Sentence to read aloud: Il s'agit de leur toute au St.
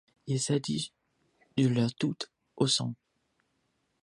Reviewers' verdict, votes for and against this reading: rejected, 1, 2